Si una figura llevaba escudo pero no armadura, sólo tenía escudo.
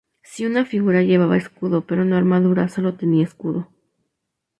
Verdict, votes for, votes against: accepted, 2, 0